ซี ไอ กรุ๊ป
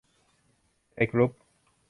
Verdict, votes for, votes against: rejected, 0, 2